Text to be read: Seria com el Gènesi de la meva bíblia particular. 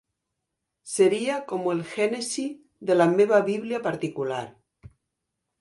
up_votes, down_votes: 0, 3